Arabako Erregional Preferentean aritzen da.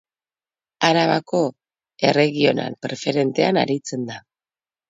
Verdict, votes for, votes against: accepted, 2, 0